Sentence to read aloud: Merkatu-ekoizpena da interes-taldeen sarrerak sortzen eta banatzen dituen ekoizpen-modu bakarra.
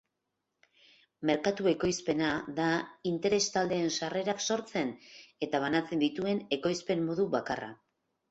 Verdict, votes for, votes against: accepted, 2, 0